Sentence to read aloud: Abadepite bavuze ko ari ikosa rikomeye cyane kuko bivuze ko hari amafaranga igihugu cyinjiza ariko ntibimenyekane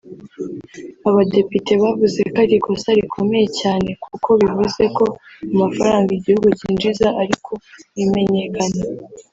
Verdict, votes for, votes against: rejected, 1, 2